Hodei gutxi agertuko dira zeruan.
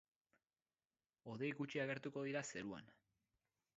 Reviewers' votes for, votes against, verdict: 4, 0, accepted